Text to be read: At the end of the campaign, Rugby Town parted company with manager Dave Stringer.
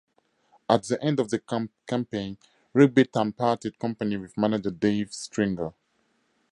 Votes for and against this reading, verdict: 2, 0, accepted